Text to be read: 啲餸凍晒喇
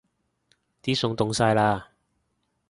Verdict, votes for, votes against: accepted, 2, 0